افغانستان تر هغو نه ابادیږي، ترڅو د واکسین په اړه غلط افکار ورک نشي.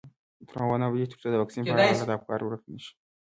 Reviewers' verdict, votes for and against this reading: accepted, 2, 1